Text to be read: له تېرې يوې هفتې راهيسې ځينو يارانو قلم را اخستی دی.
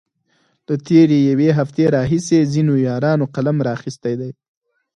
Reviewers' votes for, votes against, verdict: 4, 0, accepted